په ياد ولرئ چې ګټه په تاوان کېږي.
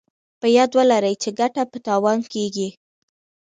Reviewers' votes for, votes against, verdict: 2, 1, accepted